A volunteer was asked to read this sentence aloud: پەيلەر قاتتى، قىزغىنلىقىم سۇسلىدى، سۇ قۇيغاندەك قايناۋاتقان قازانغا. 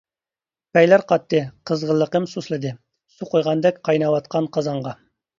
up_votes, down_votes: 2, 0